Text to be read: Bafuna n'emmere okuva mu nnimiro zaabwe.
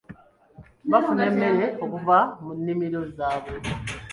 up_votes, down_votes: 1, 2